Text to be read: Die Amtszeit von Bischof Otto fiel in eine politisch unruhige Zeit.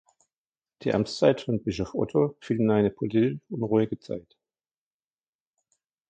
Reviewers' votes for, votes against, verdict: 0, 2, rejected